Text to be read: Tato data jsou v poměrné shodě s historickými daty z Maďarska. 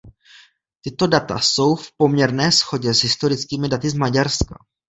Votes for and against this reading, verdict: 1, 2, rejected